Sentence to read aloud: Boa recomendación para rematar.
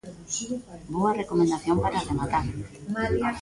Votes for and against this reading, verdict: 1, 2, rejected